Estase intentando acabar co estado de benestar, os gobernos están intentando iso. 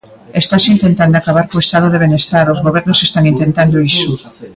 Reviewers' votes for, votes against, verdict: 0, 2, rejected